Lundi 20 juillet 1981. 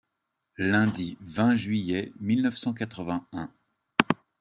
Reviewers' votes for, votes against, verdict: 0, 2, rejected